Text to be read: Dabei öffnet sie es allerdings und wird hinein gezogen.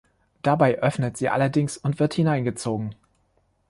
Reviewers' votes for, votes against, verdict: 0, 3, rejected